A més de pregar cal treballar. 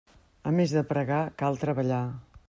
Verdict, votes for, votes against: accepted, 3, 0